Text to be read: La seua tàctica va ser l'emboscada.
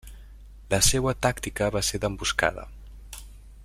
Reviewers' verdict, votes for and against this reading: rejected, 1, 2